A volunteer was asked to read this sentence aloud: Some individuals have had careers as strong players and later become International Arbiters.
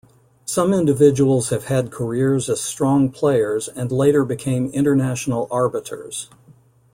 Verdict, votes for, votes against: accepted, 2, 0